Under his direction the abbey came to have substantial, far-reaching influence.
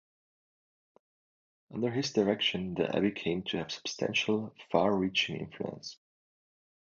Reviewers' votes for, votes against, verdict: 1, 2, rejected